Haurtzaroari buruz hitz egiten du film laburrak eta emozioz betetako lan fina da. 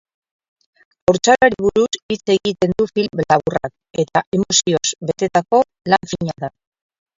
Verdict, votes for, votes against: rejected, 0, 2